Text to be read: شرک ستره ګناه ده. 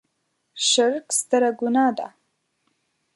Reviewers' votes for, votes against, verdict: 2, 0, accepted